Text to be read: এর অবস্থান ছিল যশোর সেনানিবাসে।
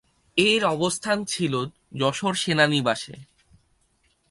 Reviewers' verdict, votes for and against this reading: accepted, 4, 0